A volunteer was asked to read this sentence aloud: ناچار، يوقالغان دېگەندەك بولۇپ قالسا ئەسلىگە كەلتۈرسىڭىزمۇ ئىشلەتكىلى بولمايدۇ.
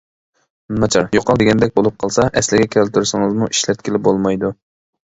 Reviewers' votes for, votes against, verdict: 0, 2, rejected